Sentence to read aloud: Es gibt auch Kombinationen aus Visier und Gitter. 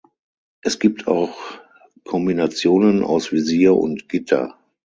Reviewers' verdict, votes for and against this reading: accepted, 6, 0